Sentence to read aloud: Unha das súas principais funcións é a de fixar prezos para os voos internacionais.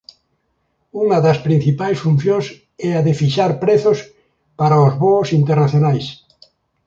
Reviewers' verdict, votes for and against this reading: rejected, 0, 2